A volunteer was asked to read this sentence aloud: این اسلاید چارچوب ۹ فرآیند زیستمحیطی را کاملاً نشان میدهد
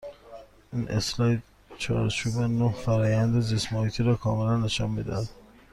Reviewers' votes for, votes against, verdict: 0, 2, rejected